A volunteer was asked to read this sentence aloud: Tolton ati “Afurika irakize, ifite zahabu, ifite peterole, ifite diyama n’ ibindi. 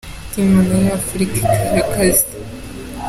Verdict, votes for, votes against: rejected, 0, 2